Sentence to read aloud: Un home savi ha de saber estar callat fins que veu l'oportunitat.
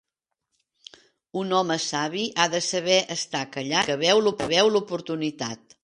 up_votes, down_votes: 0, 5